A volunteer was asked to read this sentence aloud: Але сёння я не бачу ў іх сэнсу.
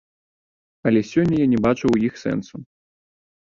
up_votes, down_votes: 0, 2